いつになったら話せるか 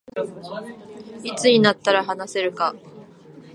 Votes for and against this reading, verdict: 2, 0, accepted